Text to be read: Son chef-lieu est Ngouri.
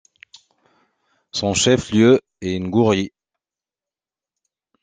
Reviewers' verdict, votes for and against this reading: accepted, 2, 0